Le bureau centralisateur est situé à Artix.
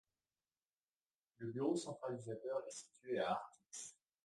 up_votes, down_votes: 2, 0